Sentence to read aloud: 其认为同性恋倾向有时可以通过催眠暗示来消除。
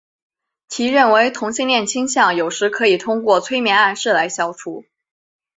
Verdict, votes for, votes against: accepted, 3, 0